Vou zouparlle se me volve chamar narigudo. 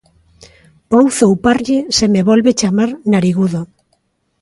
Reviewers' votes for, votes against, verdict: 3, 0, accepted